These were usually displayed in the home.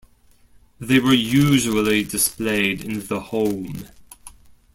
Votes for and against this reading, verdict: 1, 2, rejected